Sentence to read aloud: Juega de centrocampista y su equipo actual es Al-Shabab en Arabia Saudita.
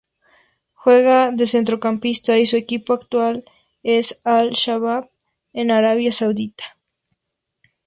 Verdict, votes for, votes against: accepted, 4, 0